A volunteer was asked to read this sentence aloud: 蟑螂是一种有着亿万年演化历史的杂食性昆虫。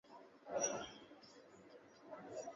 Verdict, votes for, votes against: rejected, 0, 2